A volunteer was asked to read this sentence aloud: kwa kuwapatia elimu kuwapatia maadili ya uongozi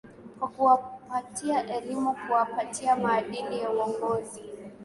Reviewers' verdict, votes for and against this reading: accepted, 2, 0